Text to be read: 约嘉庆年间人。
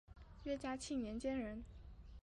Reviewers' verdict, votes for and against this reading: rejected, 2, 2